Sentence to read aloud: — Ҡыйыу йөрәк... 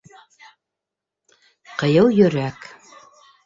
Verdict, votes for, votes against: rejected, 0, 2